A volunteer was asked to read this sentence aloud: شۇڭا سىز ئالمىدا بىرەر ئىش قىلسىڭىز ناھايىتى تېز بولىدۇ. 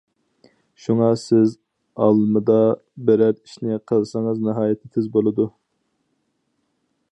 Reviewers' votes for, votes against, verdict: 0, 4, rejected